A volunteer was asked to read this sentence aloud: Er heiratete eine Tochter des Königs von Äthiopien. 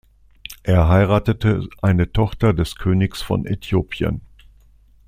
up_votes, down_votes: 2, 0